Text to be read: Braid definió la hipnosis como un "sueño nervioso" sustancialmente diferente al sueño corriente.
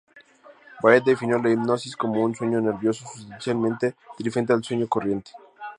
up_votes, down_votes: 2, 2